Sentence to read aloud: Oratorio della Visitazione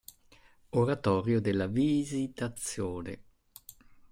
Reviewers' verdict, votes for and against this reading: rejected, 1, 2